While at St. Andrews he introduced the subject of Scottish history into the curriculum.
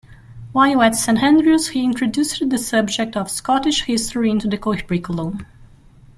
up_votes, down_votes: 1, 2